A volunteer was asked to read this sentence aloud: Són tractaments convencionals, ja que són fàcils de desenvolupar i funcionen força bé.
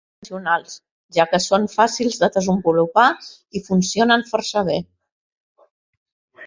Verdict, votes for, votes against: rejected, 0, 2